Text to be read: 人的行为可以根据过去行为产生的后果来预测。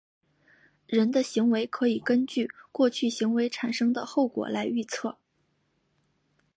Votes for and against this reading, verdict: 2, 0, accepted